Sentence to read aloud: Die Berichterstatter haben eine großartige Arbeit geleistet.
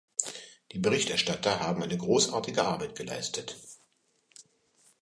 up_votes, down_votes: 2, 0